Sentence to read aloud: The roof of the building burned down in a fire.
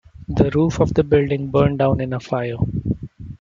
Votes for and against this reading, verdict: 2, 0, accepted